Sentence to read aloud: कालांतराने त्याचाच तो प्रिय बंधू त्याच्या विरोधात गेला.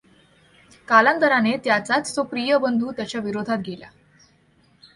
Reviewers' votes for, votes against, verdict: 2, 0, accepted